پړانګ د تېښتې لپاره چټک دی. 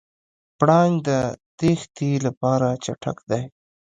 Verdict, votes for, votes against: accepted, 2, 0